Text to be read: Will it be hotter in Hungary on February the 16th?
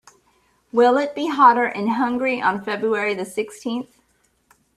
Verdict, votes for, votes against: rejected, 0, 2